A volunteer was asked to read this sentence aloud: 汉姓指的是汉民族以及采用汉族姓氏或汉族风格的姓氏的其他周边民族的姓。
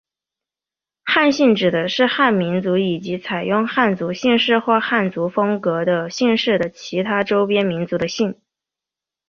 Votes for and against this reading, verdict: 2, 0, accepted